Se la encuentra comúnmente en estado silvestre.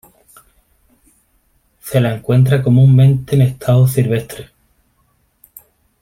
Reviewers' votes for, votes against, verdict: 2, 0, accepted